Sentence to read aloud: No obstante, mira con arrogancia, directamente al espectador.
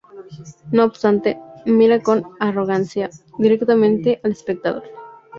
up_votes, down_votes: 0, 2